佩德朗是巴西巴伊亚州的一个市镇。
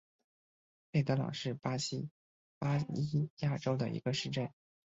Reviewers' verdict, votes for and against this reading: accepted, 2, 1